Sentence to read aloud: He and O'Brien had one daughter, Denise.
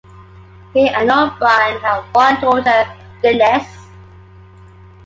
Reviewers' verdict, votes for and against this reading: rejected, 1, 2